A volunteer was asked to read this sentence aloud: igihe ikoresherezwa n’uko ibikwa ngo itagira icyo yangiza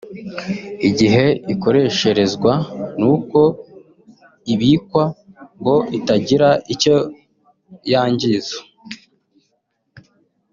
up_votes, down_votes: 0, 2